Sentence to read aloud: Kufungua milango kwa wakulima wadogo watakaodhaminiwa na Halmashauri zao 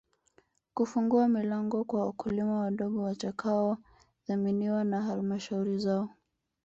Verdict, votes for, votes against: accepted, 2, 1